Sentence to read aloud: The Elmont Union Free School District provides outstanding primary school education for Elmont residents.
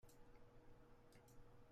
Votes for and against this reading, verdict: 0, 2, rejected